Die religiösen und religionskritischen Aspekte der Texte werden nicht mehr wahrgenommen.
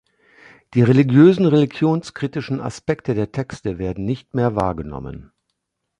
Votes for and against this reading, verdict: 1, 3, rejected